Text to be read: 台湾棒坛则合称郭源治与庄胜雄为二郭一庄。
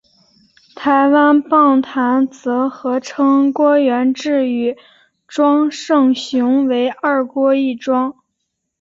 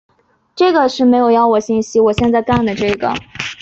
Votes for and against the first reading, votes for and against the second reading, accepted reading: 4, 0, 0, 3, first